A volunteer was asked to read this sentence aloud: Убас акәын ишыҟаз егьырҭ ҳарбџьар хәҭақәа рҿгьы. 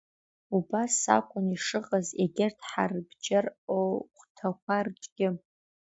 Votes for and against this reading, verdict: 0, 2, rejected